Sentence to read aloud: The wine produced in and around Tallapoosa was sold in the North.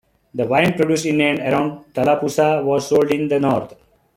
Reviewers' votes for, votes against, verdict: 2, 1, accepted